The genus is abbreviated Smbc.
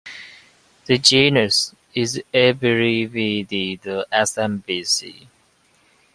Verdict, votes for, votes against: rejected, 0, 2